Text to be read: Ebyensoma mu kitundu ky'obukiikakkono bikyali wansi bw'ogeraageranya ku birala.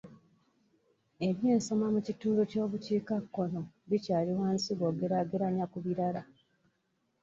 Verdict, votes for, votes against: accepted, 2, 0